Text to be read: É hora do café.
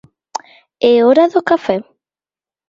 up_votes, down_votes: 2, 0